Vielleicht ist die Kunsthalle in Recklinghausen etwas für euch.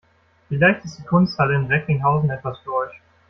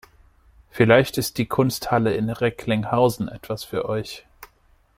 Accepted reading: second